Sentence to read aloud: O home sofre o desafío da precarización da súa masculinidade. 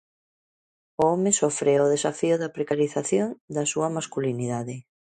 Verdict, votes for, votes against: accepted, 2, 0